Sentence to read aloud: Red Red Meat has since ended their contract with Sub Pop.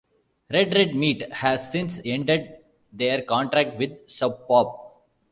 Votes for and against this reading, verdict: 2, 0, accepted